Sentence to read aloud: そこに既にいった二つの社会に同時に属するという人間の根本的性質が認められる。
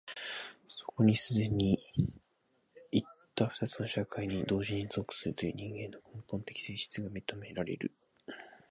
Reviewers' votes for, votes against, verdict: 0, 2, rejected